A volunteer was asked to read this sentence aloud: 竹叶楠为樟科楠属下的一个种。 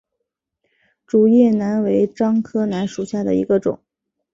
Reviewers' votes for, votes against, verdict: 3, 0, accepted